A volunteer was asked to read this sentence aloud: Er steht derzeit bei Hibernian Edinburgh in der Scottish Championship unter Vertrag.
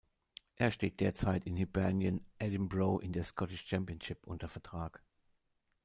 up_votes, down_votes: 1, 2